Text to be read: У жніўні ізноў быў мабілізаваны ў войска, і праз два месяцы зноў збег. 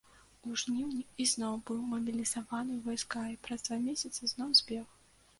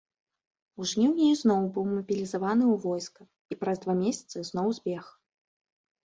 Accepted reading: second